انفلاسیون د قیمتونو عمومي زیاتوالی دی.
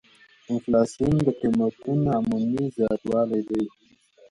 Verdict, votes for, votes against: accepted, 2, 0